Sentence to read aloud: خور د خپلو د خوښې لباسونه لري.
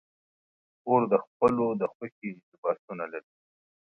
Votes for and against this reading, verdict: 2, 0, accepted